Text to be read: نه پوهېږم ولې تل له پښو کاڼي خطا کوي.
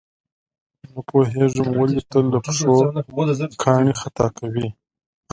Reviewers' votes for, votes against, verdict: 2, 0, accepted